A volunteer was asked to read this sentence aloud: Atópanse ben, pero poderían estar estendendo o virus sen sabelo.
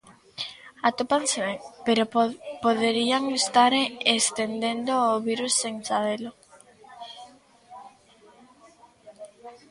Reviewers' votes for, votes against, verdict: 0, 3, rejected